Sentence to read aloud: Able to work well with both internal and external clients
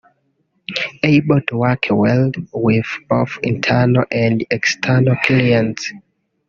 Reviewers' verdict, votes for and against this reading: rejected, 0, 2